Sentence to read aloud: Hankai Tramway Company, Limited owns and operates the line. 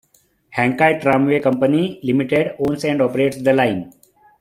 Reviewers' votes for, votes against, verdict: 2, 0, accepted